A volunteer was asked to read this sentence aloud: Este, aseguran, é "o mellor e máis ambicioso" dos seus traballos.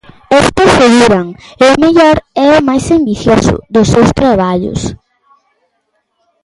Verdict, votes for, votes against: rejected, 0, 2